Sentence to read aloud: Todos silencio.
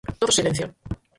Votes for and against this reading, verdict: 0, 4, rejected